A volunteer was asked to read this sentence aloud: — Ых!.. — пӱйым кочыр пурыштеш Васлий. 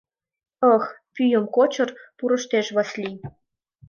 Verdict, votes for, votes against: accepted, 2, 0